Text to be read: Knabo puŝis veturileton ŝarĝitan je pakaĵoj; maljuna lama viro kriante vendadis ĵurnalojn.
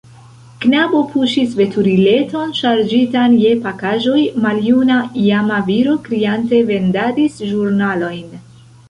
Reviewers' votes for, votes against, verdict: 0, 2, rejected